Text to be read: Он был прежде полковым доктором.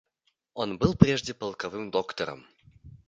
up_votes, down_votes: 2, 1